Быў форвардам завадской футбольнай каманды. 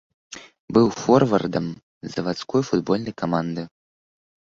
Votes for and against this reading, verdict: 2, 0, accepted